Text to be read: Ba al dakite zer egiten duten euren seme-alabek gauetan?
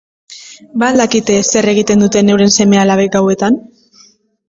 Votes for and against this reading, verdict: 2, 0, accepted